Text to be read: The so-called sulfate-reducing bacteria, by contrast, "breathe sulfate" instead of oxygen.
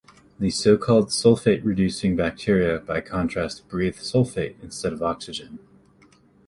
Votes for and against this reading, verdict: 2, 0, accepted